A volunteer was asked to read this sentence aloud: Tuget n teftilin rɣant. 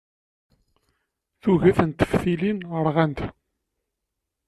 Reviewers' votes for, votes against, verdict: 2, 3, rejected